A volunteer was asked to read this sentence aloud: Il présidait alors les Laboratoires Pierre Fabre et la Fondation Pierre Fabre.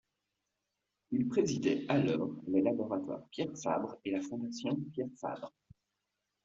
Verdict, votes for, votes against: accepted, 2, 0